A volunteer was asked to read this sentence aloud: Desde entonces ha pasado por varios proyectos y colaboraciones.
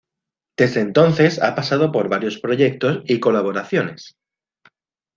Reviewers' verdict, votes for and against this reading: accepted, 2, 0